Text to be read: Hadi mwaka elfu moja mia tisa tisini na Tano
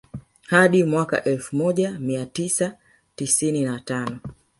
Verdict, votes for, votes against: rejected, 1, 2